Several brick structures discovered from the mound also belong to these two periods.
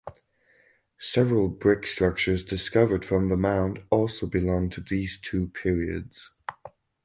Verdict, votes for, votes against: accepted, 4, 0